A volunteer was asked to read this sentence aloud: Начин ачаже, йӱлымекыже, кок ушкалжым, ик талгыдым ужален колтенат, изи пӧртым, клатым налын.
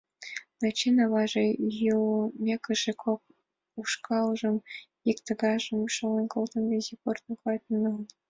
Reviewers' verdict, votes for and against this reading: rejected, 1, 2